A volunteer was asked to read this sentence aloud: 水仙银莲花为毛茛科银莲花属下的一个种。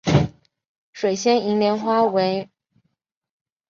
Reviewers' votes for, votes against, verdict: 1, 2, rejected